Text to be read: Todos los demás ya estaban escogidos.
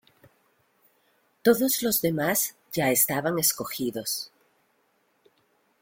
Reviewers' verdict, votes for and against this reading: accepted, 2, 0